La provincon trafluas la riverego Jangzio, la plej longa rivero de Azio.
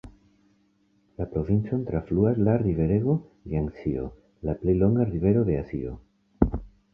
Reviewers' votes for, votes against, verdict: 2, 0, accepted